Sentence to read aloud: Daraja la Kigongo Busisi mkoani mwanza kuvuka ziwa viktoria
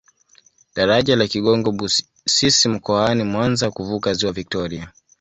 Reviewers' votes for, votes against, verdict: 2, 0, accepted